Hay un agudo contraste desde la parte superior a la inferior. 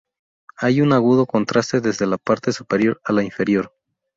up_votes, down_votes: 0, 2